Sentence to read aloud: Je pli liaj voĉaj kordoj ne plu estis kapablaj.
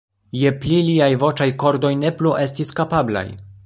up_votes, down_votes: 0, 2